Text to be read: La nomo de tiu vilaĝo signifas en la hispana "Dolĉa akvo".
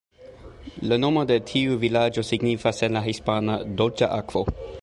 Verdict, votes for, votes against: accepted, 2, 0